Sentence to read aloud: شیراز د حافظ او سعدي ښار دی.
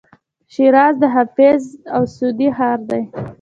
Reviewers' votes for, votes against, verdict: 1, 2, rejected